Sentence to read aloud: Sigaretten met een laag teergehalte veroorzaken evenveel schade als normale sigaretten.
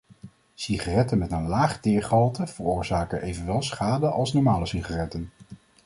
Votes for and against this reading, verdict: 0, 2, rejected